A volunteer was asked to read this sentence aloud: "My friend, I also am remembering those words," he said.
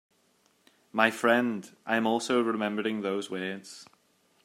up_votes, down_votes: 0, 2